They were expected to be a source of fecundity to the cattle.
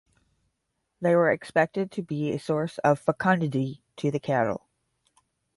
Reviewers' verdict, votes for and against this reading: accepted, 10, 0